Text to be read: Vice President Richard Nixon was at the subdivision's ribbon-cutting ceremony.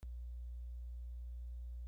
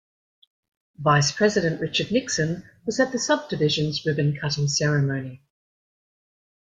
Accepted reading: second